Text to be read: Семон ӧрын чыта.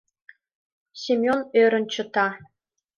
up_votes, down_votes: 1, 2